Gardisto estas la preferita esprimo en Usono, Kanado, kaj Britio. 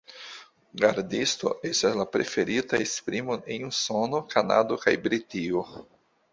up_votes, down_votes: 2, 1